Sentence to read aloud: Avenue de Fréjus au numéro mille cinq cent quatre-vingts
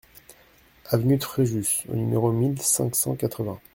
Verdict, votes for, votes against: accepted, 2, 0